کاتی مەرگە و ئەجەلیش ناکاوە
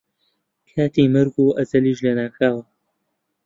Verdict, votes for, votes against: rejected, 0, 2